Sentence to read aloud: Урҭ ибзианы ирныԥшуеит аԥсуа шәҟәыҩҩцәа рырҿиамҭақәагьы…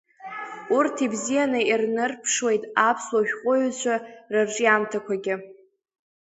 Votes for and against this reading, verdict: 0, 2, rejected